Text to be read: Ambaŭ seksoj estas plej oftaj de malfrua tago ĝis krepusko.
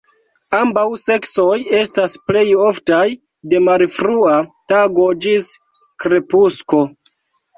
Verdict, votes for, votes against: rejected, 1, 2